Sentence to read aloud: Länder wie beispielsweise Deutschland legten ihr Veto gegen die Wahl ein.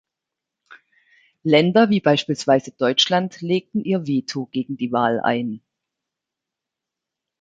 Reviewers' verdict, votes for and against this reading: accepted, 2, 0